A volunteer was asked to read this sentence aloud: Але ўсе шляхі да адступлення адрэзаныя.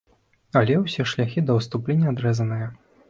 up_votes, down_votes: 2, 0